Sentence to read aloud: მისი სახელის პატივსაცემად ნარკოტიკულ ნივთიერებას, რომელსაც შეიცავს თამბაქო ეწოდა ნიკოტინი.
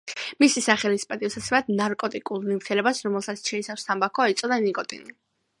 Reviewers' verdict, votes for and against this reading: accepted, 2, 0